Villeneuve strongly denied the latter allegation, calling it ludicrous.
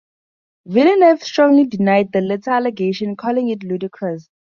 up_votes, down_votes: 4, 0